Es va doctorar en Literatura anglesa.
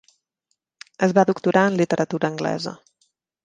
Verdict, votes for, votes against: accepted, 3, 0